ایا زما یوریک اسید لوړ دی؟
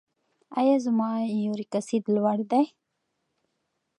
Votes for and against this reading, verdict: 2, 0, accepted